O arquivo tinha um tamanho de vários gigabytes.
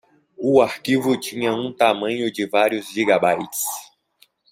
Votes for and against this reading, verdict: 2, 0, accepted